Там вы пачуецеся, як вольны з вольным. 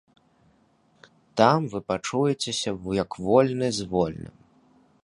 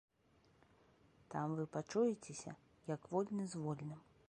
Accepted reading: second